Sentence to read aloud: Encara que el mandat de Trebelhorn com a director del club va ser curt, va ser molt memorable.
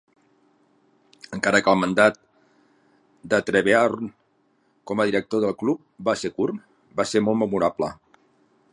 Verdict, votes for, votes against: rejected, 1, 3